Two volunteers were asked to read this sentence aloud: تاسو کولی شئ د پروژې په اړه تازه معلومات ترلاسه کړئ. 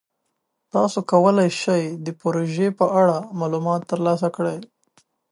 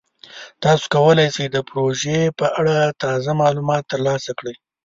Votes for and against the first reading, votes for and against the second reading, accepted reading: 1, 2, 2, 0, second